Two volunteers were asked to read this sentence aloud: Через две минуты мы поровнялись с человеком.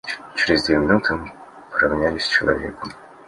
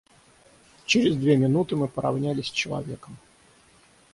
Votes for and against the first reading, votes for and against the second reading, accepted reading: 2, 0, 3, 3, first